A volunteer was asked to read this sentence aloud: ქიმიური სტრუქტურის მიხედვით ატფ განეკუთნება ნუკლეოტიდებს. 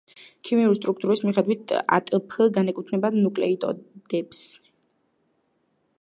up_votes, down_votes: 1, 2